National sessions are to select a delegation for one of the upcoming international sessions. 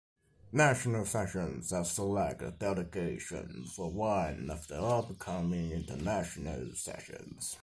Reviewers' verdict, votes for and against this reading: accepted, 2, 1